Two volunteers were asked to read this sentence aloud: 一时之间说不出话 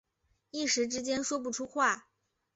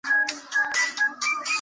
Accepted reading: first